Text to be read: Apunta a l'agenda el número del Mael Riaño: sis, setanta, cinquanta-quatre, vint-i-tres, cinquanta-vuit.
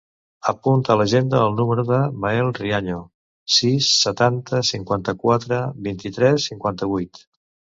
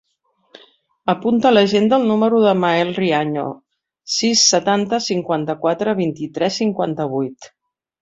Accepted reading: second